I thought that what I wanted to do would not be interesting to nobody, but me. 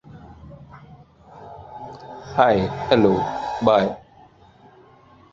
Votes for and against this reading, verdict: 0, 2, rejected